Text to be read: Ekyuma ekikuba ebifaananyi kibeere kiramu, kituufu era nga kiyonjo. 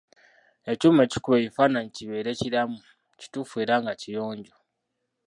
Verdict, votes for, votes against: rejected, 1, 2